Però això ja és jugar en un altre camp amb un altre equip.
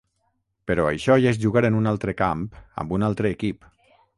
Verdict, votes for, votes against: rejected, 3, 3